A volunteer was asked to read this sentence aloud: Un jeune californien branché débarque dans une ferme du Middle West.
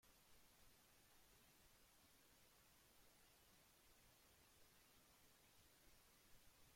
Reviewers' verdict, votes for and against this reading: rejected, 0, 2